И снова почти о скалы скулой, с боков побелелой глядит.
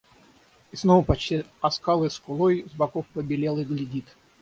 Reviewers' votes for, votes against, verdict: 3, 6, rejected